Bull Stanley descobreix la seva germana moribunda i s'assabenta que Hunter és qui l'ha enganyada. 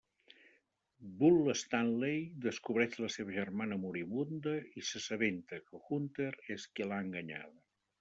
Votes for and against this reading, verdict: 1, 2, rejected